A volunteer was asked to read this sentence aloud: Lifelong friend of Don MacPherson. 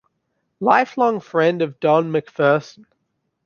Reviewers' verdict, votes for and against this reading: accepted, 2, 1